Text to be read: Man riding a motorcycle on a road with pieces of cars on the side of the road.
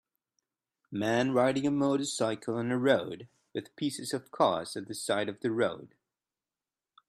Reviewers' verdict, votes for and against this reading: accepted, 2, 1